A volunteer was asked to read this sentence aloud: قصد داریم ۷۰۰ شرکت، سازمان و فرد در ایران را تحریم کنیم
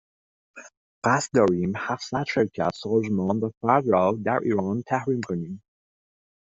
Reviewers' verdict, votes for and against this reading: rejected, 0, 2